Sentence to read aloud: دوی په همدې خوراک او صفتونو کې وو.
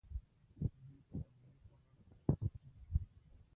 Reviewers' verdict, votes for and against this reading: rejected, 0, 2